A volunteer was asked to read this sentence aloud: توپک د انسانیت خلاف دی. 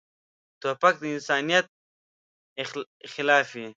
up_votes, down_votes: 0, 2